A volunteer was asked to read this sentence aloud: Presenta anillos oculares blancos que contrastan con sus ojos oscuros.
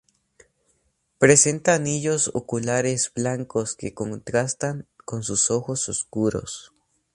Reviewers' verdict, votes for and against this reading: accepted, 2, 0